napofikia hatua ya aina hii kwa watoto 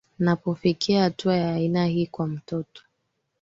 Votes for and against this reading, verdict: 3, 2, accepted